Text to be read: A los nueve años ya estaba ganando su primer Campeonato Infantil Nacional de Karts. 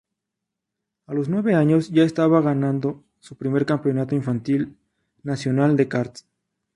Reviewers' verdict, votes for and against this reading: accepted, 2, 0